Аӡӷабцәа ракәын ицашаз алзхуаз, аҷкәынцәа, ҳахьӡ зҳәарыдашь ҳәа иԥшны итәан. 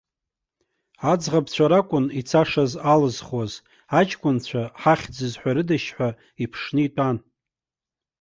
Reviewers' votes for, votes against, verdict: 2, 0, accepted